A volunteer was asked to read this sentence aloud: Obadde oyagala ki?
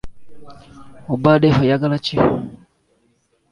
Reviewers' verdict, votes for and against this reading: rejected, 0, 2